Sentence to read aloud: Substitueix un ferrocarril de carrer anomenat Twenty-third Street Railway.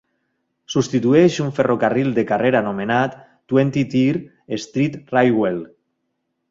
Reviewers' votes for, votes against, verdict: 1, 2, rejected